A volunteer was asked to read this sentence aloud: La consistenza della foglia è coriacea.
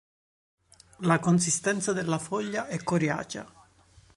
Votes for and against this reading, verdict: 1, 2, rejected